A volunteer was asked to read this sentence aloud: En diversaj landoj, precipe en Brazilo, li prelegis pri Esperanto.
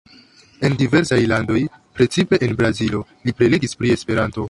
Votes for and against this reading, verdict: 2, 0, accepted